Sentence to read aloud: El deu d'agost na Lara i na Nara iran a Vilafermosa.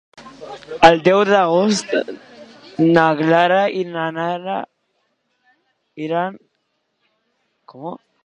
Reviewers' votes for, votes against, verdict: 0, 2, rejected